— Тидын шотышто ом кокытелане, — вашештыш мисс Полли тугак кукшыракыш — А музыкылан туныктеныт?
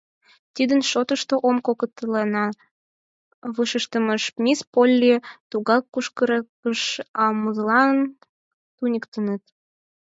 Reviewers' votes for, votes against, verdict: 2, 4, rejected